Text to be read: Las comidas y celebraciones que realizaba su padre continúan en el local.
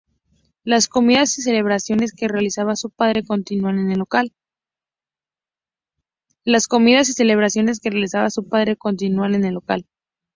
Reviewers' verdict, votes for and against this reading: accepted, 4, 0